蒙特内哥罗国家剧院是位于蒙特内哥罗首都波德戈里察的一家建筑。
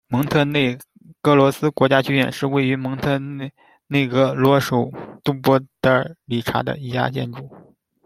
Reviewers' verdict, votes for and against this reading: rejected, 0, 2